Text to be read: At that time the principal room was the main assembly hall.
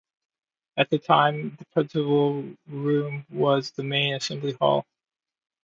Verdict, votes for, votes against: accepted, 2, 1